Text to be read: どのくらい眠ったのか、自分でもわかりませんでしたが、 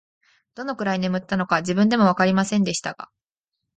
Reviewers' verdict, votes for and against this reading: accepted, 2, 0